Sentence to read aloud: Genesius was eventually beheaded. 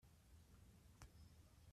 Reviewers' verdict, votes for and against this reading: rejected, 0, 2